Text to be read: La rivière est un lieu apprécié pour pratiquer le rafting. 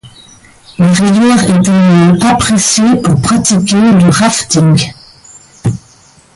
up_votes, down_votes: 1, 2